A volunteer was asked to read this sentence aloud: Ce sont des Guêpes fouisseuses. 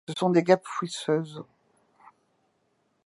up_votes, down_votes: 2, 1